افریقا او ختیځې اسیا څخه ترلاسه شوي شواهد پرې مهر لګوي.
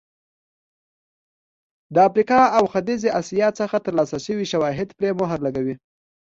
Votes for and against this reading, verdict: 3, 0, accepted